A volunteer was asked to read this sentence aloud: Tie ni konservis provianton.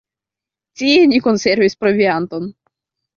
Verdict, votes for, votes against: rejected, 0, 2